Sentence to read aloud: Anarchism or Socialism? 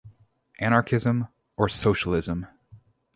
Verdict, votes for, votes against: rejected, 2, 2